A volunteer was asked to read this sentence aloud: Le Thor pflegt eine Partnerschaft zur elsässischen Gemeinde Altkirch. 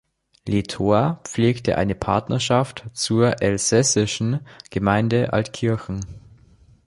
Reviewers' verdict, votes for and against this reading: rejected, 1, 4